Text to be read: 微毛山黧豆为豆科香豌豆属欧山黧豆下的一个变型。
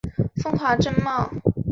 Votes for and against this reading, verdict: 1, 2, rejected